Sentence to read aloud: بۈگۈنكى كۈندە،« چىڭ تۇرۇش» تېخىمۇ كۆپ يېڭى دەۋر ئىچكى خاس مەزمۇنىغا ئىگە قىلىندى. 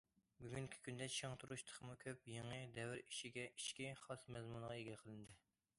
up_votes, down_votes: 0, 2